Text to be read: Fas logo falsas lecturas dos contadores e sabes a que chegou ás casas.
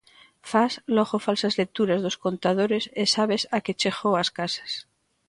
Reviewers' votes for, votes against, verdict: 3, 0, accepted